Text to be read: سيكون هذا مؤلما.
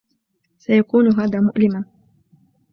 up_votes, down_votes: 3, 0